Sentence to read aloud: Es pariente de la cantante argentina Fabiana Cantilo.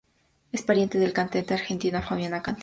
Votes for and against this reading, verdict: 0, 2, rejected